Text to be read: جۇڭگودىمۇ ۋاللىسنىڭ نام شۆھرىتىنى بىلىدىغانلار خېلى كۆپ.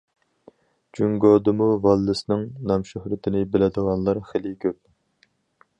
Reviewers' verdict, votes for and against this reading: rejected, 2, 2